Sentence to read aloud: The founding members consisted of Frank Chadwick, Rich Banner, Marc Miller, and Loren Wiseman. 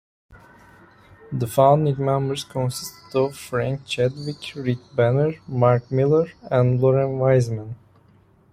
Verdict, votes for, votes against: rejected, 0, 2